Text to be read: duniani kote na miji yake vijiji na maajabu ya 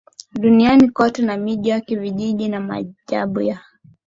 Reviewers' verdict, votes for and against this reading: accepted, 2, 0